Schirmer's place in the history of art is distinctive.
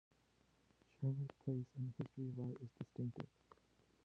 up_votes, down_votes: 0, 2